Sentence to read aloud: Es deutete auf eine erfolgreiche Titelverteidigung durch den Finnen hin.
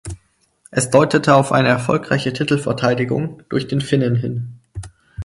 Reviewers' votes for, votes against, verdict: 4, 0, accepted